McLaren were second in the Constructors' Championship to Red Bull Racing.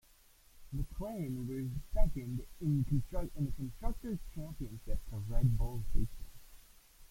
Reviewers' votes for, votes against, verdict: 0, 2, rejected